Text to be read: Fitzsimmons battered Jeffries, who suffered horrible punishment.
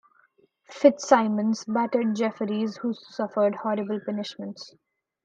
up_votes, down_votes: 1, 2